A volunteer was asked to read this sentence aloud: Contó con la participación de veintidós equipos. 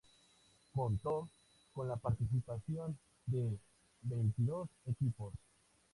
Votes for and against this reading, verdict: 2, 0, accepted